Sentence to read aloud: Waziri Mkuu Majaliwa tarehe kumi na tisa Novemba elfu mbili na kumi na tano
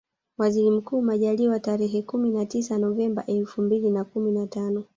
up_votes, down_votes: 1, 2